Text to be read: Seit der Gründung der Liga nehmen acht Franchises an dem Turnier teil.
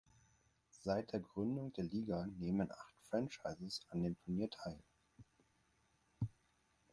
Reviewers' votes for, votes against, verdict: 4, 0, accepted